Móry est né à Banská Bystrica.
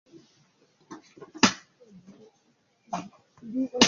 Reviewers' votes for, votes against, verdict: 0, 2, rejected